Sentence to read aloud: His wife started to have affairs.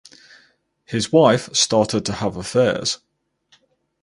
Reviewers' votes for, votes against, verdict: 6, 0, accepted